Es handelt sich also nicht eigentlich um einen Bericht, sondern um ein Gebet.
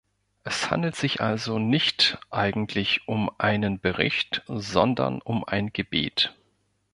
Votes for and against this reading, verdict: 2, 0, accepted